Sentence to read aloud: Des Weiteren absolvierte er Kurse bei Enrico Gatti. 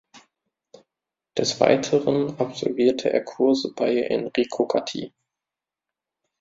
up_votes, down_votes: 2, 0